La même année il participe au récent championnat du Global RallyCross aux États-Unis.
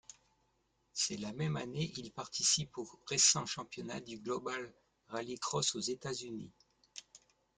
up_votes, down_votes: 1, 2